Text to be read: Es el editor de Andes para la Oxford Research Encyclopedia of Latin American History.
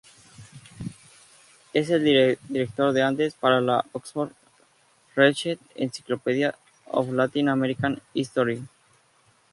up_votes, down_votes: 0, 4